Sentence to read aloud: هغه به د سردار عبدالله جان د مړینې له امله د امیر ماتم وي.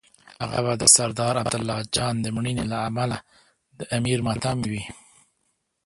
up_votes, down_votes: 1, 2